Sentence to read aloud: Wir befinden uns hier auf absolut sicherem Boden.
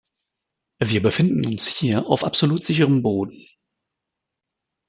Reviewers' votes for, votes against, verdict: 2, 0, accepted